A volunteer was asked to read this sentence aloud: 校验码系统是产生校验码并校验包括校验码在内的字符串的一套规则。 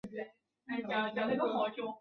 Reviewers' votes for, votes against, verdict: 2, 1, accepted